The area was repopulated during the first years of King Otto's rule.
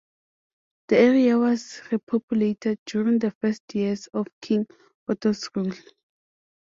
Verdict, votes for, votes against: accepted, 2, 0